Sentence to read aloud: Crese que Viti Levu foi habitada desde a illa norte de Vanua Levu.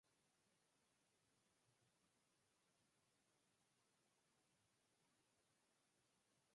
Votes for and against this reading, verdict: 0, 4, rejected